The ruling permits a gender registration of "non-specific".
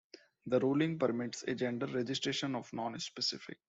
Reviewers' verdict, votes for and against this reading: accepted, 2, 0